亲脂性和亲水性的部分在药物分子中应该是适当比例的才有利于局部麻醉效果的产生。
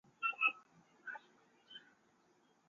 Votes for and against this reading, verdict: 2, 4, rejected